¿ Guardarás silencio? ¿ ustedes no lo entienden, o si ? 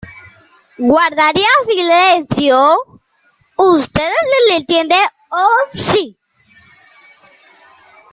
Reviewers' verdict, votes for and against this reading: rejected, 0, 2